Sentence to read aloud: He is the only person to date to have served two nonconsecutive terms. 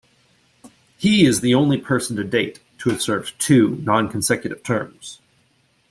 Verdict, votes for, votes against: accepted, 2, 0